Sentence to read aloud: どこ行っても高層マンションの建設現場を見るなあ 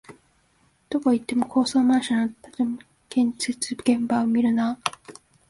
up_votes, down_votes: 2, 0